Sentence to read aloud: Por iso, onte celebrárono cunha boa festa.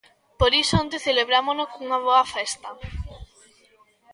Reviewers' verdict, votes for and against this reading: rejected, 0, 2